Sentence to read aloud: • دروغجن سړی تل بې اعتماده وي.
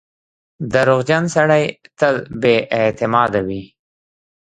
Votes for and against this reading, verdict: 0, 2, rejected